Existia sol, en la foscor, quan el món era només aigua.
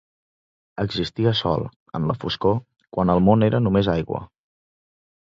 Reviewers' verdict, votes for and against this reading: accepted, 2, 0